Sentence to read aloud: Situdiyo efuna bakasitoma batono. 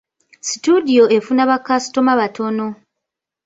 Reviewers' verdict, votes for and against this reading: rejected, 0, 2